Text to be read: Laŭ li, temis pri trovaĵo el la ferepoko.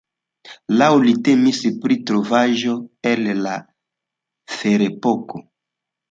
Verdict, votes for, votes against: accepted, 2, 0